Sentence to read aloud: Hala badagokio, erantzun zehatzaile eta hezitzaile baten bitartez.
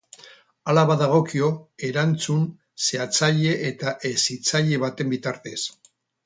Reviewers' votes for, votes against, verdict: 0, 2, rejected